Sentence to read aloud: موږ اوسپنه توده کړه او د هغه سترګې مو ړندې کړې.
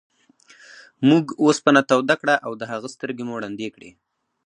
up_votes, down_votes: 2, 0